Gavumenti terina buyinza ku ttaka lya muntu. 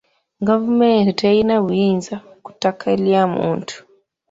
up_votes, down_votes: 2, 1